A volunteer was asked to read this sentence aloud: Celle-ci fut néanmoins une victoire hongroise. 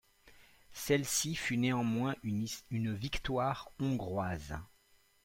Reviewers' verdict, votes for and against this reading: rejected, 0, 2